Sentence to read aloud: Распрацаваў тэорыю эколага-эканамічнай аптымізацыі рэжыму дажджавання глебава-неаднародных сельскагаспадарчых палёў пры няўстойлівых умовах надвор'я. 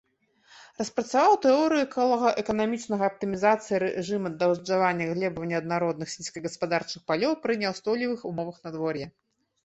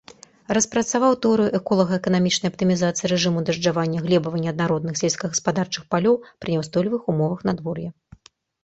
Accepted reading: second